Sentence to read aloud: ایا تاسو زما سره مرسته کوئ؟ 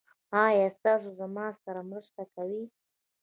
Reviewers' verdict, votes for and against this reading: accepted, 2, 0